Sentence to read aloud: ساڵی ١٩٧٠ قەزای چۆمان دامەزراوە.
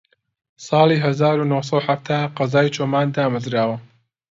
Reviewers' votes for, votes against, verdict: 0, 2, rejected